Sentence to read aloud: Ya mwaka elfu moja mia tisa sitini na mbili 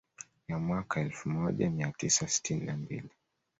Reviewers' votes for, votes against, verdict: 2, 0, accepted